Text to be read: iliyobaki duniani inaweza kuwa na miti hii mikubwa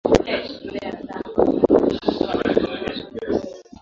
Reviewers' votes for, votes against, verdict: 0, 2, rejected